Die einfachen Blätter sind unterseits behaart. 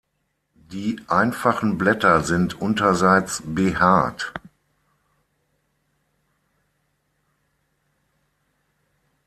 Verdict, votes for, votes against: accepted, 6, 3